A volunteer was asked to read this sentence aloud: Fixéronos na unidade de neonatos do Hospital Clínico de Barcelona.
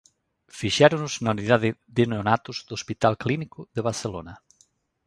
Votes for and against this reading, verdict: 0, 2, rejected